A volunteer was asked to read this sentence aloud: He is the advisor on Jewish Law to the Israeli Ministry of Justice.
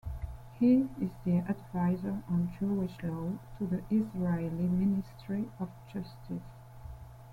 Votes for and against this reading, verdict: 2, 0, accepted